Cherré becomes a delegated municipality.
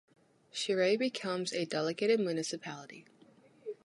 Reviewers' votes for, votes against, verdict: 2, 0, accepted